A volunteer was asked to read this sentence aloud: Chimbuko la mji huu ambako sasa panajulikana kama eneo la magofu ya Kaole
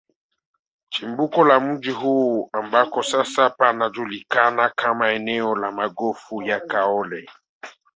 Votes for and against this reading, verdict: 1, 2, rejected